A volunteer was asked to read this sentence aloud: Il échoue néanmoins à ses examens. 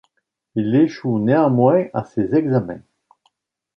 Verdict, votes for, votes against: accepted, 2, 0